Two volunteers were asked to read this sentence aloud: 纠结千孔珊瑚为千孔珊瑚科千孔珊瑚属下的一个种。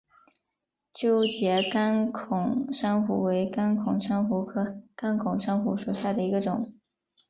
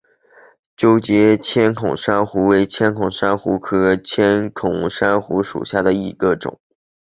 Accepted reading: second